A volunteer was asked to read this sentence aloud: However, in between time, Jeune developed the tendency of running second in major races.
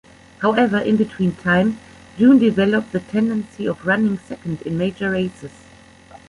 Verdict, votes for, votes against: accepted, 2, 1